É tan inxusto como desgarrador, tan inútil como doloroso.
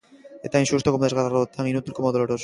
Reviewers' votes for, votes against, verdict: 1, 2, rejected